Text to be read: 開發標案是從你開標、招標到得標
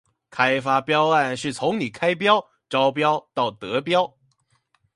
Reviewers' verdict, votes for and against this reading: accepted, 2, 0